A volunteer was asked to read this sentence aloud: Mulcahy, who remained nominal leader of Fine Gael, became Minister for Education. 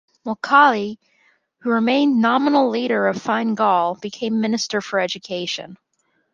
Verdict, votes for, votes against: accepted, 2, 0